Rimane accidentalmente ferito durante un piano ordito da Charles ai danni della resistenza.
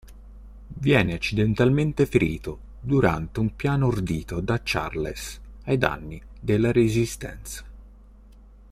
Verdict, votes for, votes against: rejected, 1, 2